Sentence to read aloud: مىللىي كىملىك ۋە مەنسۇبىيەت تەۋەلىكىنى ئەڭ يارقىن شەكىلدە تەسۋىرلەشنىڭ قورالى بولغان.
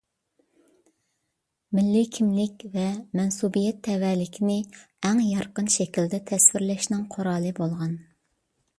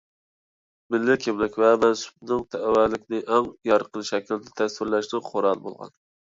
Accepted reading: first